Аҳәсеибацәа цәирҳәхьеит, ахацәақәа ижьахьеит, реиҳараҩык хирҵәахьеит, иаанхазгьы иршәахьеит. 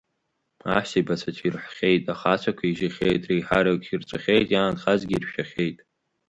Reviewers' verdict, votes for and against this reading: accepted, 2, 0